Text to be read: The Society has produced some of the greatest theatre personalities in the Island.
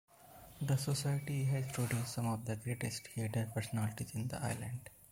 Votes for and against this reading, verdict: 2, 0, accepted